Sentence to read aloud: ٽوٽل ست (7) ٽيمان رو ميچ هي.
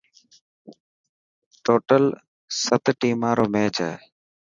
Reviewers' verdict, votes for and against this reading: rejected, 0, 2